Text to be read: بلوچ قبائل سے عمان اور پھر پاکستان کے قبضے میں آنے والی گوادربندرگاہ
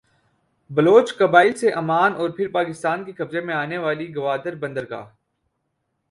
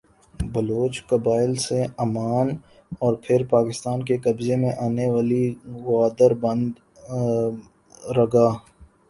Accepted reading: first